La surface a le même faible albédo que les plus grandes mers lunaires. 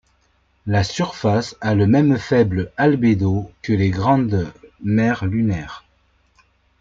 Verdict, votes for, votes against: rejected, 0, 2